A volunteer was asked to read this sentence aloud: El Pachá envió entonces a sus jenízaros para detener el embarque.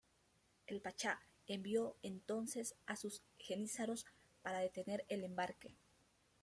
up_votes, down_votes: 1, 2